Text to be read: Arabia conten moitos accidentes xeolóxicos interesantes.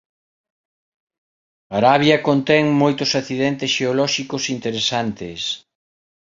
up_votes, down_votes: 2, 0